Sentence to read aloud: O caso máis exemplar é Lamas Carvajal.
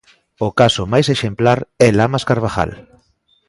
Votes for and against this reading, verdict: 2, 0, accepted